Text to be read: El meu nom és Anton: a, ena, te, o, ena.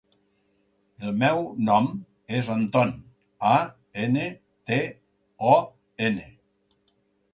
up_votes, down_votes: 4, 0